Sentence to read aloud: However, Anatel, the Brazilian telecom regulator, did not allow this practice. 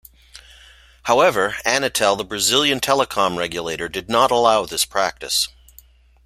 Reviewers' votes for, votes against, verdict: 2, 0, accepted